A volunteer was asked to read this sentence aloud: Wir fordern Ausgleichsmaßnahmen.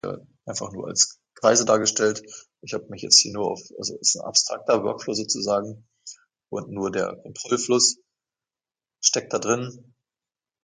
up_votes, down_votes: 0, 2